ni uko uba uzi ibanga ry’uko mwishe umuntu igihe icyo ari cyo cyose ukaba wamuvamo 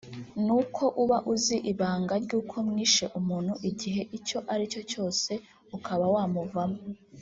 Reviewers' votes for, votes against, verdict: 1, 2, rejected